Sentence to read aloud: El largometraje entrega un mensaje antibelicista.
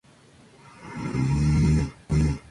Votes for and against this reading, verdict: 0, 2, rejected